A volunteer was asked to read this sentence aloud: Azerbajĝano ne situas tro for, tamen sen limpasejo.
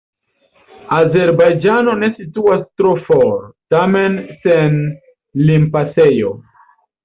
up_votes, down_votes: 3, 0